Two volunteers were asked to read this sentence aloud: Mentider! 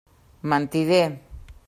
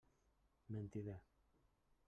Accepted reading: first